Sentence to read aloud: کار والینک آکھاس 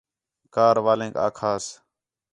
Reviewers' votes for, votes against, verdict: 4, 0, accepted